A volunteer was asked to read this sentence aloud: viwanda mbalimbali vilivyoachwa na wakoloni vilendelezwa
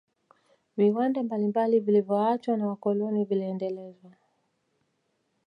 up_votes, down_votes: 2, 0